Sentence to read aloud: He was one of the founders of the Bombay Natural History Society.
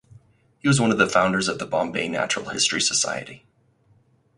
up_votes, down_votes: 4, 0